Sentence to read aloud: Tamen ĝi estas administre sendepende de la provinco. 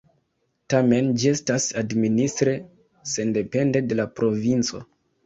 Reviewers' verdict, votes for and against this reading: accepted, 3, 2